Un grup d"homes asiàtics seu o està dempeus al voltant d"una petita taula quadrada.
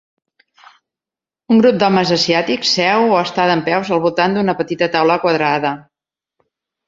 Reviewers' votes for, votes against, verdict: 2, 0, accepted